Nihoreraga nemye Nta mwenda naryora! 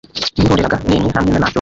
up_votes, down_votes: 1, 2